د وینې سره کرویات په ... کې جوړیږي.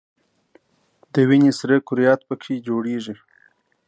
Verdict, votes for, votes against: accepted, 2, 0